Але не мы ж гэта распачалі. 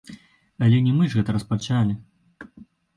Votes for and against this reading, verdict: 2, 0, accepted